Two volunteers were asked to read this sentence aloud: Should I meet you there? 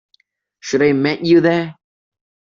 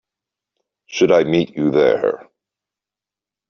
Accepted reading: second